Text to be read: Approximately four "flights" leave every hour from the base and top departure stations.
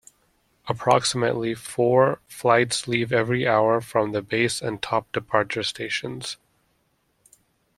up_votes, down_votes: 2, 1